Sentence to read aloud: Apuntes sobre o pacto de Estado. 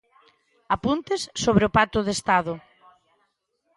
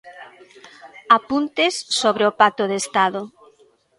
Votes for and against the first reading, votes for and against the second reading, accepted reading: 2, 1, 1, 2, first